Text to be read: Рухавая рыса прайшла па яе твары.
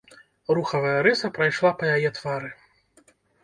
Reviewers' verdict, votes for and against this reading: rejected, 1, 2